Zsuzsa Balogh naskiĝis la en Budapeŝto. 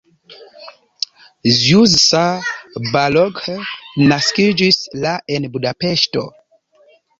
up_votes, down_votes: 0, 3